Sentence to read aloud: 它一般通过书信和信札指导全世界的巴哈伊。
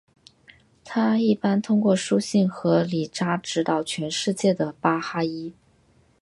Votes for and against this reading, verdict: 0, 3, rejected